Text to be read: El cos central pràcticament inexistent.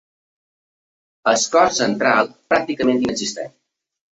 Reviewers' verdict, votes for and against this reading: rejected, 0, 2